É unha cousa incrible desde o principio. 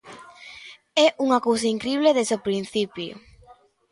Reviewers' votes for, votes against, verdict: 2, 0, accepted